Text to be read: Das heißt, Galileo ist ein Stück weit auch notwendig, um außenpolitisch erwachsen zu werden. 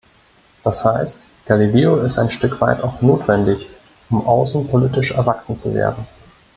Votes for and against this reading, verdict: 2, 0, accepted